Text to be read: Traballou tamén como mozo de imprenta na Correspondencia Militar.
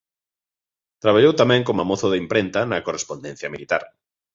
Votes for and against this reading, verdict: 2, 1, accepted